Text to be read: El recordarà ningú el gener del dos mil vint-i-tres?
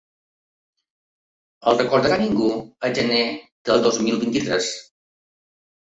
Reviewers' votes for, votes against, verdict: 3, 2, accepted